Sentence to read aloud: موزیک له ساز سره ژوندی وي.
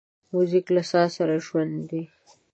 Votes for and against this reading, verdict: 1, 2, rejected